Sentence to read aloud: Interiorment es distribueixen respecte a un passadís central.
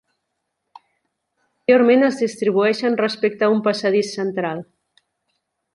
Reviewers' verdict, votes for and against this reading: rejected, 1, 2